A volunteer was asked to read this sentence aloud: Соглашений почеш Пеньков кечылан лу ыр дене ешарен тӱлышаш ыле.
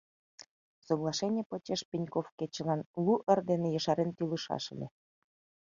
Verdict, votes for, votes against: accepted, 2, 0